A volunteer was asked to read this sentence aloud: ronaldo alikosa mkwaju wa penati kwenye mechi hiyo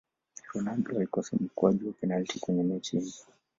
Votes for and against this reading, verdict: 2, 0, accepted